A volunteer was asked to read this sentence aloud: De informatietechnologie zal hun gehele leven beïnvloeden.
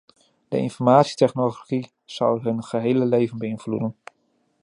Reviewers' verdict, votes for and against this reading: rejected, 1, 2